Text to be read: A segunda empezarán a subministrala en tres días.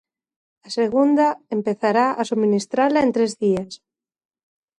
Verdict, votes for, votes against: rejected, 1, 2